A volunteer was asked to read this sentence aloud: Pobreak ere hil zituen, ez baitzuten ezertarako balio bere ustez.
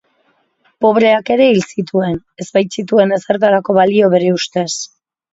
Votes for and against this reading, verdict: 1, 3, rejected